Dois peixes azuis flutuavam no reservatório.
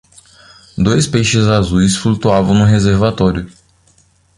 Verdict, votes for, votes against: accepted, 2, 0